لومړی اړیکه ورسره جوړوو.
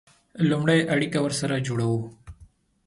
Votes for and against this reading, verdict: 2, 0, accepted